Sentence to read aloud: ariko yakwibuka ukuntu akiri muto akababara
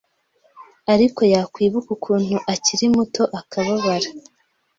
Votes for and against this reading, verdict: 2, 0, accepted